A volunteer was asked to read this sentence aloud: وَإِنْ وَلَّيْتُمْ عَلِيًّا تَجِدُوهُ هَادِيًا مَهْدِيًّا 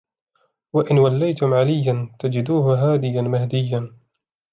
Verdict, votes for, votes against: accepted, 2, 0